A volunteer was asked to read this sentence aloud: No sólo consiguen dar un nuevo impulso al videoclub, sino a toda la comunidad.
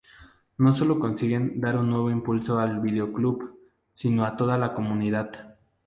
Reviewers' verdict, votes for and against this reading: accepted, 2, 0